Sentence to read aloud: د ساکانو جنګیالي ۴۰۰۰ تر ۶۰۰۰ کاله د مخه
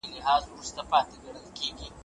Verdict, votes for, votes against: rejected, 0, 2